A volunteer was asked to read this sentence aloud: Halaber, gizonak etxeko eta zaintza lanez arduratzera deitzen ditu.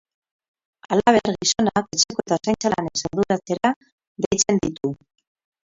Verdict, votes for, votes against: rejected, 2, 12